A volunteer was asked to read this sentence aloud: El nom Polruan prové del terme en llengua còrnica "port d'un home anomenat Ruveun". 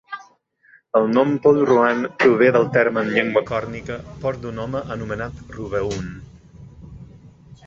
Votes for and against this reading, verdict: 1, 2, rejected